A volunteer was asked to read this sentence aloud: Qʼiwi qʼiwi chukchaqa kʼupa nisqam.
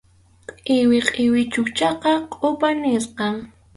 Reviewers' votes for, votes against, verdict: 2, 2, rejected